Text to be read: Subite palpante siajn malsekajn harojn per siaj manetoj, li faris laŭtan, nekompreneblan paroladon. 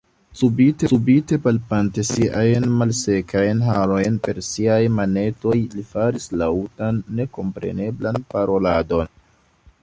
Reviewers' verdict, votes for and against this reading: rejected, 1, 2